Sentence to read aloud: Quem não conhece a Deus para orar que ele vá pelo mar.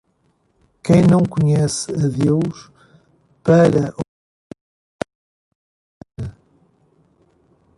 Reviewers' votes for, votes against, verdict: 0, 2, rejected